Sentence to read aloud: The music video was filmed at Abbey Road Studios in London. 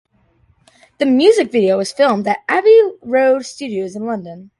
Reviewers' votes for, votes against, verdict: 2, 0, accepted